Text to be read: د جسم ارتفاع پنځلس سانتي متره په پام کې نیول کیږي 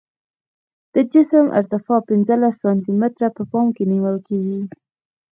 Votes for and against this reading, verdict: 2, 1, accepted